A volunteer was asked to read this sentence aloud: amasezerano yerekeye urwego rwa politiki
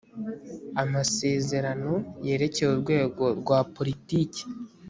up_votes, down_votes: 2, 0